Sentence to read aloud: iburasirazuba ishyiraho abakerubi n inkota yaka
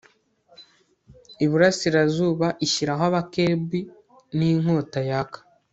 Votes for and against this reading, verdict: 1, 2, rejected